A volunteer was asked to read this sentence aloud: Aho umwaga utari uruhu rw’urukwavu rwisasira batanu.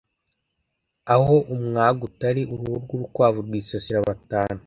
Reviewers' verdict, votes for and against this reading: accepted, 2, 0